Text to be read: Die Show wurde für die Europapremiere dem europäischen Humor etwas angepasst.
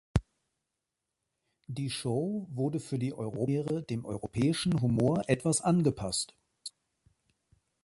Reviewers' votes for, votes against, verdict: 0, 2, rejected